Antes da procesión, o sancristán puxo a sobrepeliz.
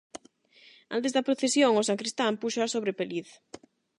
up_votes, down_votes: 0, 8